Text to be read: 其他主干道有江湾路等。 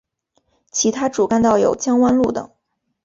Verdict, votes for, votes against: accepted, 2, 0